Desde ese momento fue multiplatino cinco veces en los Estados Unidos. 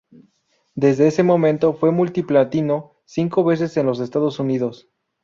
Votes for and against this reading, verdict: 2, 0, accepted